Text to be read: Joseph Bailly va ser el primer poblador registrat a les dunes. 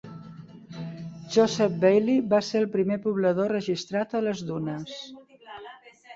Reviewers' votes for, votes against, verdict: 2, 1, accepted